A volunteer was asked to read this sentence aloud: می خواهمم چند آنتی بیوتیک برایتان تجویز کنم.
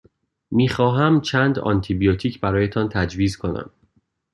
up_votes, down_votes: 2, 0